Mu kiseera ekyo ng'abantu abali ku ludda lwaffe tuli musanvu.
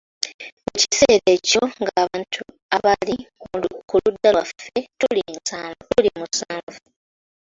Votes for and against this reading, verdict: 0, 2, rejected